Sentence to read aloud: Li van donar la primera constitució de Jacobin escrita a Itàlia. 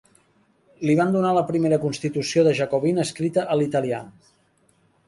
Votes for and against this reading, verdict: 1, 2, rejected